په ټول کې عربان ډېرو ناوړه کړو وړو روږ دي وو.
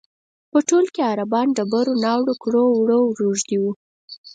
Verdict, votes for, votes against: rejected, 2, 4